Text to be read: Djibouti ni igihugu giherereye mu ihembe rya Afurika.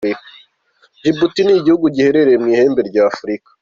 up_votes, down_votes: 2, 0